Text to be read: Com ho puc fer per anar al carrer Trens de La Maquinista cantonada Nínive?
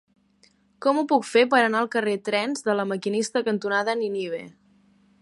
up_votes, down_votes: 1, 2